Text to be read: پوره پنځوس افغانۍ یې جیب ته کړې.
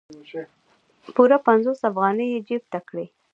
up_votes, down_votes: 1, 2